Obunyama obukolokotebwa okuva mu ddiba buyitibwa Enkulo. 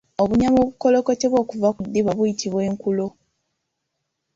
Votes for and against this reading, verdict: 2, 0, accepted